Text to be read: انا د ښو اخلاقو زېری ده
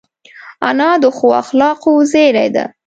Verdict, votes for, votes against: accepted, 3, 0